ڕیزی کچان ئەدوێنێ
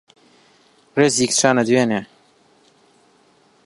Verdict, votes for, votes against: rejected, 0, 2